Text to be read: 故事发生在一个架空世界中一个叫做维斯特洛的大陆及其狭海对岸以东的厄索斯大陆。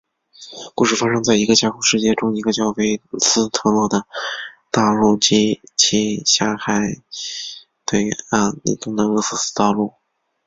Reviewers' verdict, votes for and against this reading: rejected, 0, 2